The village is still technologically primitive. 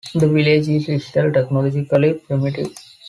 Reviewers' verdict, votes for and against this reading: rejected, 0, 2